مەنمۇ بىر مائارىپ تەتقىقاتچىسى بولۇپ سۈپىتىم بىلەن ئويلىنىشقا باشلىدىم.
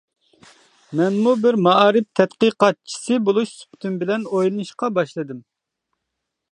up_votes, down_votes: 1, 2